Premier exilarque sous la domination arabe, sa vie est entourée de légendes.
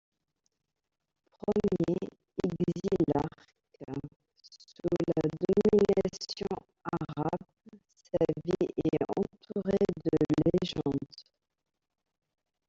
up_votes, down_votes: 0, 2